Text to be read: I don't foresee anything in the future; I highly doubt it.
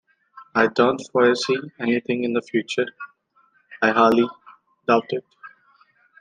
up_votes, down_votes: 2, 1